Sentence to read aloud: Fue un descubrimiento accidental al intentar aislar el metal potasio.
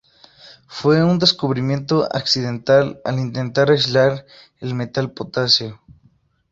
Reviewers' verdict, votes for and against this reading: accepted, 2, 0